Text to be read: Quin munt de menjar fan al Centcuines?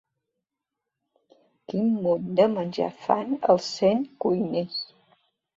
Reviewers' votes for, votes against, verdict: 2, 0, accepted